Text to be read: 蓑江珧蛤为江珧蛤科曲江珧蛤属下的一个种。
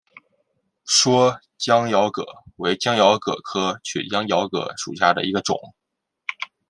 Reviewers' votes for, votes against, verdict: 2, 1, accepted